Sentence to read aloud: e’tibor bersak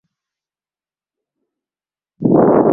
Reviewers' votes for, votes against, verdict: 0, 2, rejected